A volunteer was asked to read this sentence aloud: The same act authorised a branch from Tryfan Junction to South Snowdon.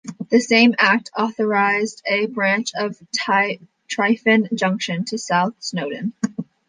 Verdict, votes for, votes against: rejected, 1, 2